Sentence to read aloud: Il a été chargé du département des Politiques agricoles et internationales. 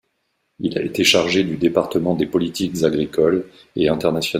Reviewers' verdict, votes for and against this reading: rejected, 0, 2